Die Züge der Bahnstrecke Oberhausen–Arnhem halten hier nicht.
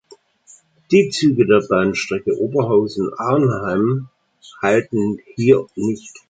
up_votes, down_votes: 2, 1